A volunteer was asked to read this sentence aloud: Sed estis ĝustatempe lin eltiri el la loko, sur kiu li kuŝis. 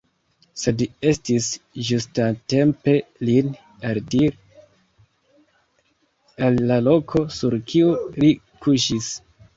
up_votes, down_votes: 0, 2